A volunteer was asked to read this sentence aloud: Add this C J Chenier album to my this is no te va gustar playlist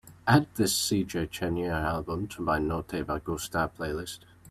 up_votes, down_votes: 0, 2